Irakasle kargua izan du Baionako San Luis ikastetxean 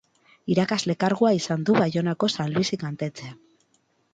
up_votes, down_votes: 0, 4